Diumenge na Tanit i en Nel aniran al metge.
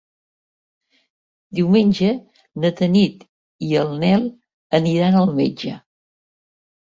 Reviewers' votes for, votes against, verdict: 1, 2, rejected